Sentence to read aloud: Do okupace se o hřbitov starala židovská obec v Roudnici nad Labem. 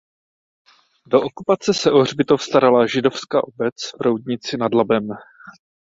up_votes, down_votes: 4, 0